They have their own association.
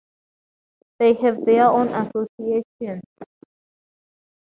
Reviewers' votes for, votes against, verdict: 4, 0, accepted